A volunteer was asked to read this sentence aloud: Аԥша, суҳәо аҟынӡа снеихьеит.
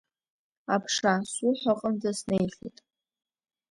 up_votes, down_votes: 2, 0